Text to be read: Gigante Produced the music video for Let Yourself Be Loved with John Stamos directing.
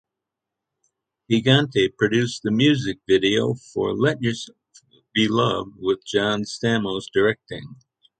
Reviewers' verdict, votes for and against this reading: rejected, 0, 3